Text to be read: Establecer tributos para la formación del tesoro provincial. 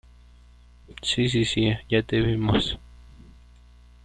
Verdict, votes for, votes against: rejected, 0, 2